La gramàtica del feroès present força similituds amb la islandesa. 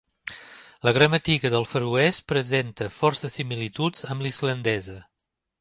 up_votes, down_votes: 2, 0